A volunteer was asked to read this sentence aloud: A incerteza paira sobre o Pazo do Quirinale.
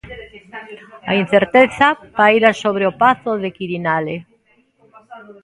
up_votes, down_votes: 1, 2